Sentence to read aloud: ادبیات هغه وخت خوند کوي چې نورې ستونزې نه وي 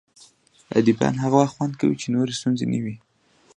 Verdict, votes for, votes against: accepted, 2, 0